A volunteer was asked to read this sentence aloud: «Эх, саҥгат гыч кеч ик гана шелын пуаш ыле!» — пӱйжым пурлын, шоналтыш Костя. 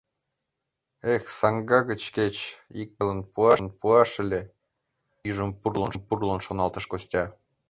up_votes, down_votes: 1, 2